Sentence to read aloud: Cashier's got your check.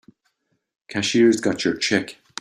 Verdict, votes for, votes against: accepted, 2, 0